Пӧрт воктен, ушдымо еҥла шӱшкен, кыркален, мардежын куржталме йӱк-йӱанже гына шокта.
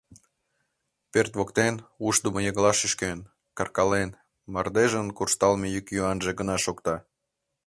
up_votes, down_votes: 2, 0